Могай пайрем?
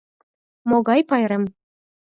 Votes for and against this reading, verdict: 4, 0, accepted